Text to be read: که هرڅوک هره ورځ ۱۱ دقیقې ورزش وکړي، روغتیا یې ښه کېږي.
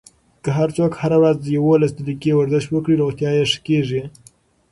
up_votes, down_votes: 0, 2